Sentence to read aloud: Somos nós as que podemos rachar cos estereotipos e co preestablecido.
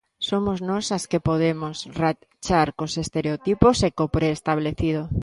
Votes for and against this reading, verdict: 1, 2, rejected